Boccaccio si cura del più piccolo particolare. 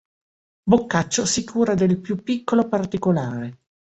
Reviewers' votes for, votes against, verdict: 2, 0, accepted